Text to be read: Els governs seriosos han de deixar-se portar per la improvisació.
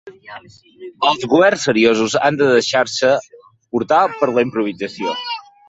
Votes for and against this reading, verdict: 1, 2, rejected